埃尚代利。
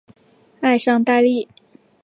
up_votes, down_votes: 2, 0